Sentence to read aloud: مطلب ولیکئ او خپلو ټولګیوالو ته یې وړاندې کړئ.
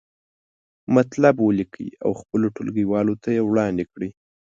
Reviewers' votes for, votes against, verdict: 2, 0, accepted